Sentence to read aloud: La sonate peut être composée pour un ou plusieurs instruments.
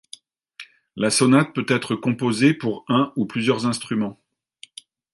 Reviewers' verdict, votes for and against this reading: accepted, 2, 0